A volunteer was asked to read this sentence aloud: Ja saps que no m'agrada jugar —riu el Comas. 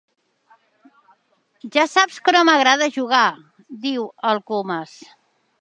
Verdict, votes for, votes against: rejected, 1, 2